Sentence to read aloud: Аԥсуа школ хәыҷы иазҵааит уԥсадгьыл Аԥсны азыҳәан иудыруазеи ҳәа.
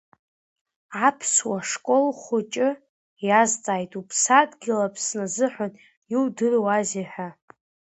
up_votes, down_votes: 1, 2